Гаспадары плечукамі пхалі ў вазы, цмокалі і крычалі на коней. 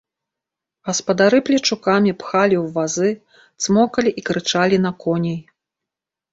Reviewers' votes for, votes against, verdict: 3, 0, accepted